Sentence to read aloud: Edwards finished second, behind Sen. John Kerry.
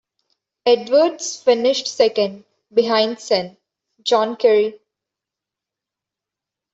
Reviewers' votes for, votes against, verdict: 1, 2, rejected